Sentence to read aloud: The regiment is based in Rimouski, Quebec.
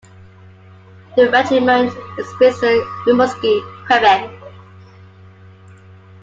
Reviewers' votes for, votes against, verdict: 2, 1, accepted